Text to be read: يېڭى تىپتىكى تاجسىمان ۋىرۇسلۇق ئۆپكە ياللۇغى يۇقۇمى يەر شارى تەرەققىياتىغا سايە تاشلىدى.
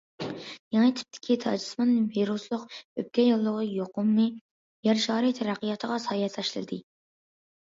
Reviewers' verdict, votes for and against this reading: accepted, 2, 0